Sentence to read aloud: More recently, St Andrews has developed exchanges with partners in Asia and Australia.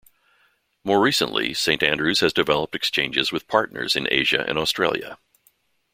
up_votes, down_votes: 0, 2